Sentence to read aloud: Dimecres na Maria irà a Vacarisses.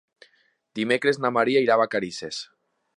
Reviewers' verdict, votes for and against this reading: accepted, 2, 0